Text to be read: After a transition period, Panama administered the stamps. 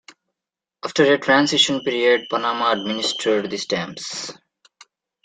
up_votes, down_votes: 1, 2